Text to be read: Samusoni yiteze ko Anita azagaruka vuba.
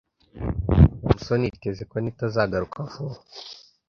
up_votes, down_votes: 0, 2